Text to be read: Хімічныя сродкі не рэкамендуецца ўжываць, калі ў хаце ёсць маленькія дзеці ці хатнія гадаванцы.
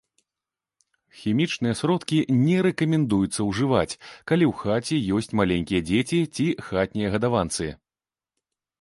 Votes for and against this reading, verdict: 3, 0, accepted